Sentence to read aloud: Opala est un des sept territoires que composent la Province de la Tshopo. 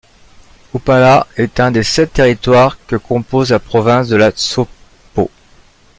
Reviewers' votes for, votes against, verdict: 0, 2, rejected